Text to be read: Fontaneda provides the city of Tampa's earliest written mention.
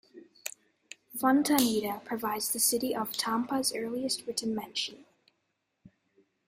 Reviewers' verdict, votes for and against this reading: accepted, 2, 1